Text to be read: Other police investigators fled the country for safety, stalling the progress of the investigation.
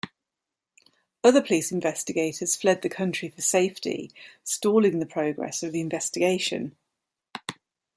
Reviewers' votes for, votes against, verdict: 2, 0, accepted